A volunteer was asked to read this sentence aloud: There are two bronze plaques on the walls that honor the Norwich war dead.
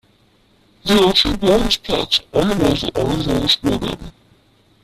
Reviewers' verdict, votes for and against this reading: rejected, 0, 2